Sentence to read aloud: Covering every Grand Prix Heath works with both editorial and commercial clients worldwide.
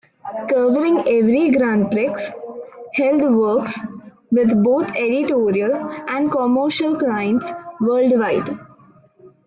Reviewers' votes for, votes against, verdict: 1, 2, rejected